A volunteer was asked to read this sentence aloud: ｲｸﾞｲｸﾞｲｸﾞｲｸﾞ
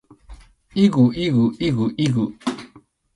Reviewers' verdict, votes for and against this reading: rejected, 0, 2